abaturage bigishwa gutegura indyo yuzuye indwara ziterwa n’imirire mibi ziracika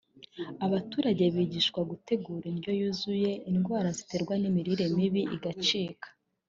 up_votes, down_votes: 0, 2